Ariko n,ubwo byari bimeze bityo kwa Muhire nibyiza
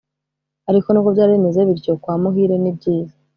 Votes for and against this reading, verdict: 2, 0, accepted